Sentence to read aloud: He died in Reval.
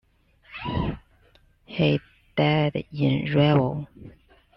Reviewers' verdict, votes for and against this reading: accepted, 2, 0